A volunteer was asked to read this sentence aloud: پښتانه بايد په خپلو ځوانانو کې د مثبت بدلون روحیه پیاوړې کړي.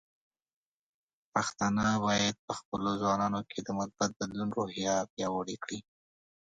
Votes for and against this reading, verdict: 2, 0, accepted